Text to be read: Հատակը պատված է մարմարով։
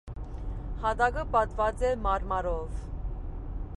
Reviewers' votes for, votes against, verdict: 2, 0, accepted